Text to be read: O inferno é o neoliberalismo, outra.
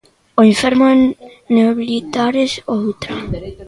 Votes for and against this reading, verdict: 0, 2, rejected